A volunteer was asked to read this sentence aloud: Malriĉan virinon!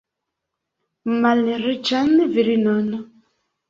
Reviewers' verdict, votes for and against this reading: accepted, 2, 0